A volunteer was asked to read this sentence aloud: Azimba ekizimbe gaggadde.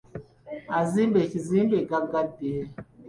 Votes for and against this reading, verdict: 0, 2, rejected